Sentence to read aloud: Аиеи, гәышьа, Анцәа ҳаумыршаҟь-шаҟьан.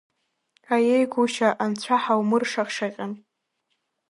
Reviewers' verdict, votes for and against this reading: rejected, 2, 3